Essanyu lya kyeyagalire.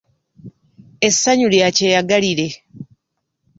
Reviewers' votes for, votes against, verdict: 2, 0, accepted